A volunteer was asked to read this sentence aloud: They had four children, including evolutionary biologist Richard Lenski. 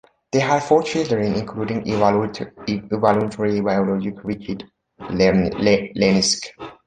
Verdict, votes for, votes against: rejected, 0, 2